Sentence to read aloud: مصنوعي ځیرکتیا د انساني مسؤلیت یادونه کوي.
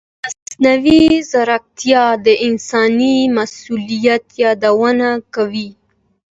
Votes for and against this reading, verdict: 2, 0, accepted